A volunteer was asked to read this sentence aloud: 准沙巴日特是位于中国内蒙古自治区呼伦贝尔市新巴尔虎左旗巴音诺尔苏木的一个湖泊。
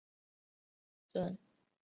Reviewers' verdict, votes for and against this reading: rejected, 0, 3